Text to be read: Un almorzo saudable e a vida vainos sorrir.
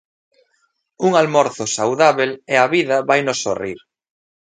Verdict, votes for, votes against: rejected, 1, 2